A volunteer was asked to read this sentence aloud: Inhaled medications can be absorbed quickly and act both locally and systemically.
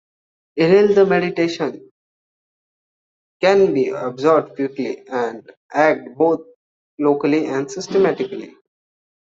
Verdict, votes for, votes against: rejected, 1, 2